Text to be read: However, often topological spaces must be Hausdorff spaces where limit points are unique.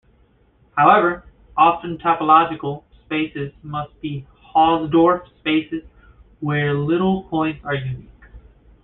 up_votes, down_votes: 1, 2